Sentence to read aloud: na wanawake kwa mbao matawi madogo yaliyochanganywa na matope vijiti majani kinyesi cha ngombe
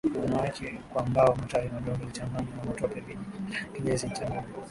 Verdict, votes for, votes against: rejected, 0, 3